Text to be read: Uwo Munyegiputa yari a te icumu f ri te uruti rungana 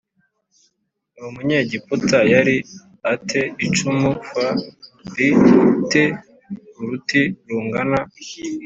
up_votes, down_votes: 2, 0